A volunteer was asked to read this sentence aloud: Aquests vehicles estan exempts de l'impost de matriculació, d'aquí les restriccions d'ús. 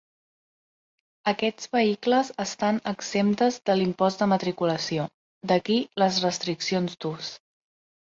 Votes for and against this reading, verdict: 0, 2, rejected